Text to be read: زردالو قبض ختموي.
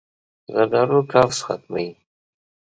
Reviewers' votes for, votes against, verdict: 2, 0, accepted